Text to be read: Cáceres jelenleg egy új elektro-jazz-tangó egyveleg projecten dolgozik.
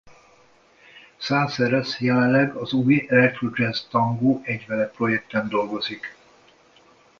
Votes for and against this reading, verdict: 0, 2, rejected